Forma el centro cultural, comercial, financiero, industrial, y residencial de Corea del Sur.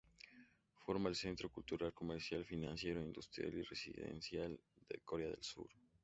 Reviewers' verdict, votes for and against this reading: accepted, 2, 0